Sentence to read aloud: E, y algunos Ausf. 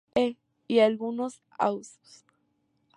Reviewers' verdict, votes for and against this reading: accepted, 2, 0